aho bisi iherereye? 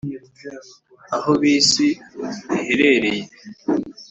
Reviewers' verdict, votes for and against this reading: accepted, 2, 0